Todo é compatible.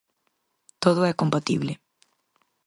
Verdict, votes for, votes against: accepted, 6, 0